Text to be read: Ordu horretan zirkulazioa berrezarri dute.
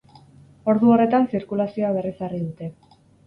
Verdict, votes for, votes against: accepted, 4, 0